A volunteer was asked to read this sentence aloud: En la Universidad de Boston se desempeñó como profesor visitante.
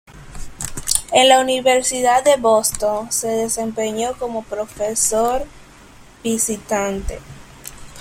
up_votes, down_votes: 2, 0